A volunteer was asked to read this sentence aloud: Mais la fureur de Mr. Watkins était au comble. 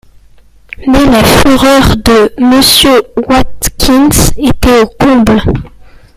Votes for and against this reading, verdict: 0, 2, rejected